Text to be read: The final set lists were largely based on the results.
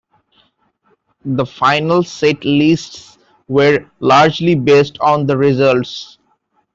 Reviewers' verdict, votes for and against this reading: accepted, 2, 0